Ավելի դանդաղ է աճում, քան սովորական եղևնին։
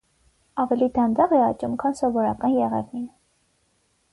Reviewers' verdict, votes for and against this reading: accepted, 6, 0